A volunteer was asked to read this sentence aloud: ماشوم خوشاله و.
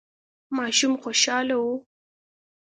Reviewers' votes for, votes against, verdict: 2, 0, accepted